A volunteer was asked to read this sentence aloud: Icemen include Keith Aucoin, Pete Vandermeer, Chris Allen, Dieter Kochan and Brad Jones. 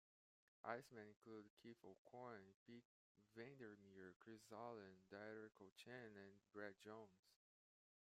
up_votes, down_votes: 1, 2